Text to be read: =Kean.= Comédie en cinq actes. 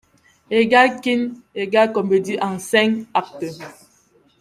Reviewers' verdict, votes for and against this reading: rejected, 1, 2